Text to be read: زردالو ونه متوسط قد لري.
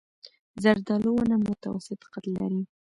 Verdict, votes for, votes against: rejected, 1, 2